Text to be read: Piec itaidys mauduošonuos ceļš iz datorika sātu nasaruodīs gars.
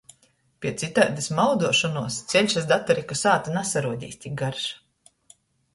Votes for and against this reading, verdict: 0, 2, rejected